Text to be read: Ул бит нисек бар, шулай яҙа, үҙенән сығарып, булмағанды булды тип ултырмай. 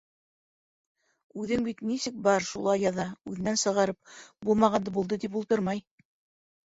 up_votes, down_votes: 1, 2